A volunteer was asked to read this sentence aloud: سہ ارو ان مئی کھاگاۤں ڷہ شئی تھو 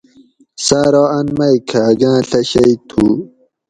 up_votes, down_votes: 2, 0